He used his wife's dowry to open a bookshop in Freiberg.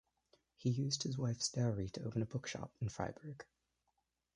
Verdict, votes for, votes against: rejected, 1, 2